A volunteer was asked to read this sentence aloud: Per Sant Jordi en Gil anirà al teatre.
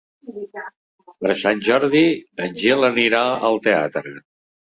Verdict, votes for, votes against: rejected, 1, 2